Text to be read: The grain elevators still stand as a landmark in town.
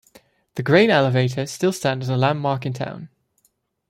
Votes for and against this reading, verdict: 2, 0, accepted